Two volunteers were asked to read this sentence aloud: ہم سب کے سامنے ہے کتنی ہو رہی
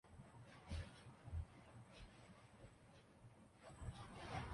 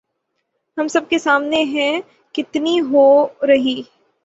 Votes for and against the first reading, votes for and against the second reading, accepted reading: 0, 2, 6, 0, second